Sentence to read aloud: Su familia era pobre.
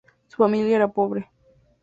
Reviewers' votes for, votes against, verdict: 2, 0, accepted